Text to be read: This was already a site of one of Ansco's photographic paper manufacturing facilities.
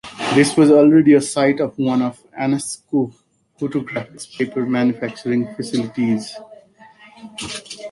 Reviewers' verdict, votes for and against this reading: rejected, 0, 2